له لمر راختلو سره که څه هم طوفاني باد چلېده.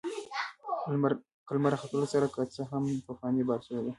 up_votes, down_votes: 1, 2